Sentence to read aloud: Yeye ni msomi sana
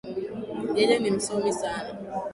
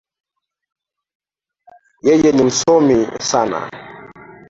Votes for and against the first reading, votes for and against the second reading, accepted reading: 3, 0, 0, 2, first